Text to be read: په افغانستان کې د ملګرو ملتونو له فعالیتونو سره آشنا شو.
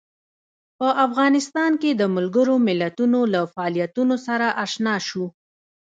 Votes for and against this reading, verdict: 0, 2, rejected